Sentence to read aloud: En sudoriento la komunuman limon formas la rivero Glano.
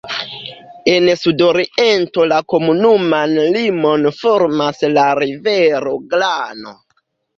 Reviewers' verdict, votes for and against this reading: rejected, 0, 2